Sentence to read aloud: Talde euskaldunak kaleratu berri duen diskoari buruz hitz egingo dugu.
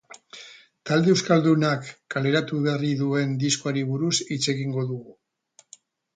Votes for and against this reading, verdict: 2, 0, accepted